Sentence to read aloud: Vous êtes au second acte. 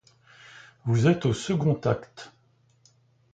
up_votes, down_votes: 2, 0